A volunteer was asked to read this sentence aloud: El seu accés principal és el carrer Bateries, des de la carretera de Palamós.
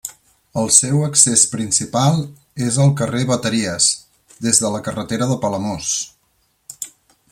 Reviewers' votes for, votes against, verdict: 0, 2, rejected